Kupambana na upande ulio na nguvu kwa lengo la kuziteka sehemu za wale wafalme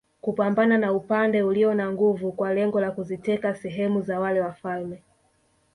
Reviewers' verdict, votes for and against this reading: rejected, 1, 2